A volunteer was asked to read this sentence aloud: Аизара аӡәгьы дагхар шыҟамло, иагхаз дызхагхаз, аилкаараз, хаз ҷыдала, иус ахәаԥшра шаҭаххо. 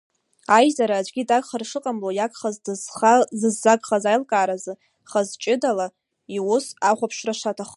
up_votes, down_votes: 1, 2